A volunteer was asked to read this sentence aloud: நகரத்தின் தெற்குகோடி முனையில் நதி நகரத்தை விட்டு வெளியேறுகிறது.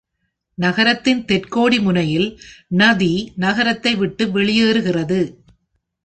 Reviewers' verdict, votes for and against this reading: accepted, 2, 0